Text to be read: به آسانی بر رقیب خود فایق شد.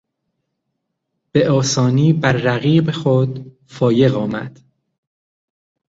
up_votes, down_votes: 1, 2